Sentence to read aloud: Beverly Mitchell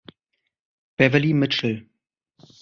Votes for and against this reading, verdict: 2, 0, accepted